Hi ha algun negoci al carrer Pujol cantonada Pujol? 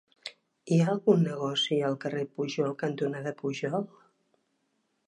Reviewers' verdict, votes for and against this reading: accepted, 3, 0